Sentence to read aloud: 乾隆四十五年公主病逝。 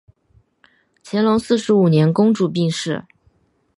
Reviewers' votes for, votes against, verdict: 0, 2, rejected